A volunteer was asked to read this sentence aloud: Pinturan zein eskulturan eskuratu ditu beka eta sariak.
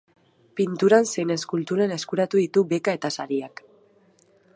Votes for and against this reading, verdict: 2, 0, accepted